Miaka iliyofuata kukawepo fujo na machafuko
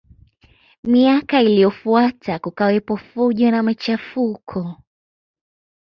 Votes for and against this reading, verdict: 1, 2, rejected